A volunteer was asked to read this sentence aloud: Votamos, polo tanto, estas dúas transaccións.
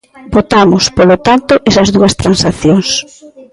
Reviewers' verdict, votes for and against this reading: rejected, 0, 2